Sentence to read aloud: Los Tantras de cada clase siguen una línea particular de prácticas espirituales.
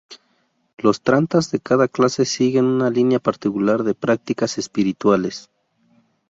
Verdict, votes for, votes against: rejected, 2, 2